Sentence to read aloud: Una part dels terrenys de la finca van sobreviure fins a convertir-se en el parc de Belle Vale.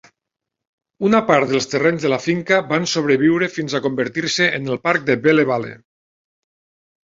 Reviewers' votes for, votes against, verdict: 0, 2, rejected